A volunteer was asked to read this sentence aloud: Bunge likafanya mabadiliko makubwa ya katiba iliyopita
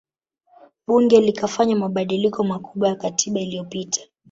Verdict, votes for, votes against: rejected, 1, 2